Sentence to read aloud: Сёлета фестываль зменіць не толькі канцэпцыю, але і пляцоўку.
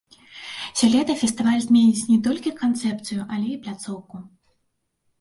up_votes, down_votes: 0, 2